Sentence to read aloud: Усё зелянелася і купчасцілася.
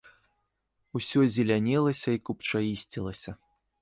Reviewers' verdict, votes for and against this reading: rejected, 0, 2